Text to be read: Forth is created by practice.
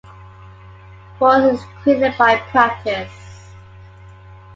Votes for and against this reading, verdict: 3, 2, accepted